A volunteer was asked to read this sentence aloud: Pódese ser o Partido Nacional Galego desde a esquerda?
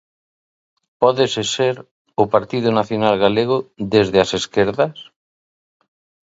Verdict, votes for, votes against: rejected, 0, 2